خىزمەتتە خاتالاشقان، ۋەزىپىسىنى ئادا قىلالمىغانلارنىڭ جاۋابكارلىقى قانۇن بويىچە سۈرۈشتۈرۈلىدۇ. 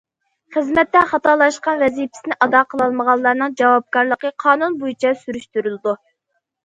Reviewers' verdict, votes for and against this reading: accepted, 2, 0